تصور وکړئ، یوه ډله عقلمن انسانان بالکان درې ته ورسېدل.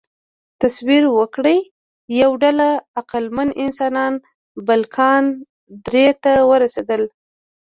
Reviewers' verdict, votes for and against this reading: rejected, 0, 2